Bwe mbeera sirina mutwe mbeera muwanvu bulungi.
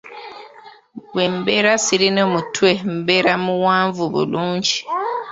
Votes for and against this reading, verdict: 1, 2, rejected